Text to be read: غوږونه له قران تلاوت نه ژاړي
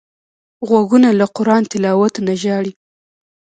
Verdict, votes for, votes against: accepted, 2, 0